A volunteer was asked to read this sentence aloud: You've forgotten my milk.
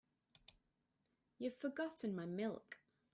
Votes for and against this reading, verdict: 2, 1, accepted